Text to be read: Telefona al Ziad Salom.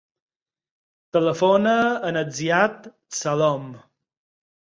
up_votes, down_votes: 4, 6